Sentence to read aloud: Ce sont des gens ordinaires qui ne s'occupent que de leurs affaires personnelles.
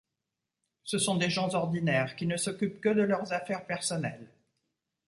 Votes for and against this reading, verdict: 2, 0, accepted